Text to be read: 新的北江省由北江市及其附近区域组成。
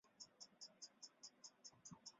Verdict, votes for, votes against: rejected, 2, 3